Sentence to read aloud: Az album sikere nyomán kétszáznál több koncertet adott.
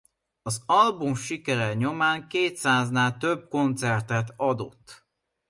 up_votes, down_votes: 2, 1